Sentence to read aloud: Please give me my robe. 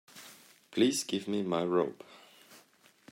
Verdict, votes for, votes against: accepted, 2, 0